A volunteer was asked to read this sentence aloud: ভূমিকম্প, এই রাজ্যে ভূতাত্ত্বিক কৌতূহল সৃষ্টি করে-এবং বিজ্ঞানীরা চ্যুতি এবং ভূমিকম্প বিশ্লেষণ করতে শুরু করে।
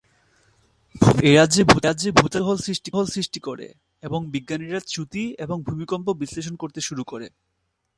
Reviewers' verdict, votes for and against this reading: rejected, 0, 2